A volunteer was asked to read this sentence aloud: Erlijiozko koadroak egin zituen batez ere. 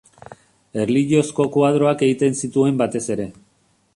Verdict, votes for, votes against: rejected, 0, 2